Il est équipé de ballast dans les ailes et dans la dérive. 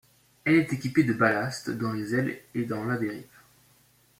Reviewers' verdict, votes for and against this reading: accepted, 2, 0